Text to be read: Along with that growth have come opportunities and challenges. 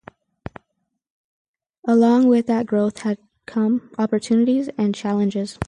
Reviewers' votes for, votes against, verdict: 4, 0, accepted